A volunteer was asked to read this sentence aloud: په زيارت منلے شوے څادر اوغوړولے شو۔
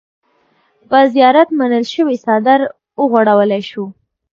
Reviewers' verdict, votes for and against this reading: rejected, 1, 2